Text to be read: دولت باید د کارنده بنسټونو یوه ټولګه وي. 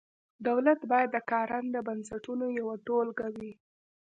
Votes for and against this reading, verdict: 0, 2, rejected